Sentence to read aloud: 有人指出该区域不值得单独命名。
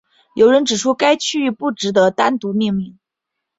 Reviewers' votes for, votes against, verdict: 2, 0, accepted